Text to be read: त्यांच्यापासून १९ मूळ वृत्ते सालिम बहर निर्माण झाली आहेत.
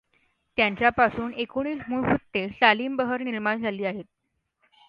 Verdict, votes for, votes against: rejected, 0, 2